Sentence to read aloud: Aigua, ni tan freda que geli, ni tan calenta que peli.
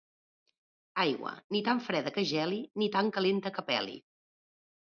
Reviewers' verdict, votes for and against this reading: accepted, 2, 0